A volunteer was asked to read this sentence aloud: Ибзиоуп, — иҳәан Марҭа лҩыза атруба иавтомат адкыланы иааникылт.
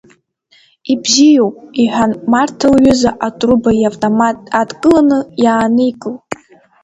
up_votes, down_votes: 4, 0